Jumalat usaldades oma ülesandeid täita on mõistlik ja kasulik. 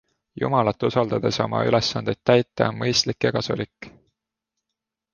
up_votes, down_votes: 2, 0